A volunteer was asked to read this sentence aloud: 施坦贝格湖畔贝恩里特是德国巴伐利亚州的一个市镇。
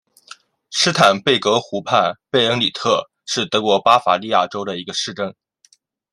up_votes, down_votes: 2, 0